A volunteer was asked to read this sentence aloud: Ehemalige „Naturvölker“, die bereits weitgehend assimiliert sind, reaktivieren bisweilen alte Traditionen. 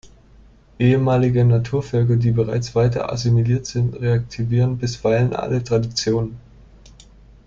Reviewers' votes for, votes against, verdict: 1, 2, rejected